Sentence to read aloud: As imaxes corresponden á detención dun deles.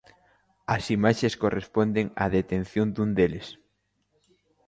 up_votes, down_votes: 2, 0